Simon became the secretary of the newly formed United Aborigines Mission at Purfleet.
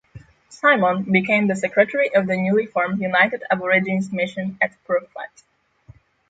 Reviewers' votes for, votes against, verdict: 0, 6, rejected